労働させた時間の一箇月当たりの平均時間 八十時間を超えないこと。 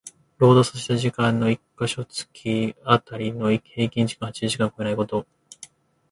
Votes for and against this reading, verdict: 1, 2, rejected